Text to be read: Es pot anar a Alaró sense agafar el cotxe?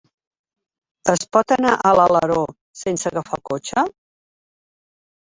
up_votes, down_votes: 1, 3